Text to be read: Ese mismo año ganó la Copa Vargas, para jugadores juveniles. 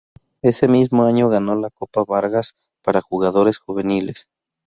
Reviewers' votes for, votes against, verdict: 2, 0, accepted